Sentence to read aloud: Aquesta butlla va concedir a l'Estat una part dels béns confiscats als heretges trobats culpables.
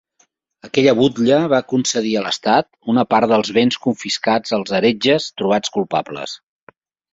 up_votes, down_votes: 0, 2